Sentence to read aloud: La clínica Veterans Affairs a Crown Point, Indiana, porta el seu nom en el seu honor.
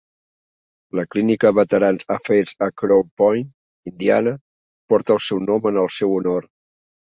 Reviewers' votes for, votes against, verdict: 1, 2, rejected